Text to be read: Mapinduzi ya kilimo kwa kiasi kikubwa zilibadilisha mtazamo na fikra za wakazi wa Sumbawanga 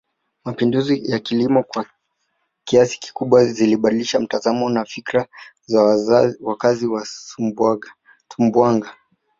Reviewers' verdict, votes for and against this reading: rejected, 1, 2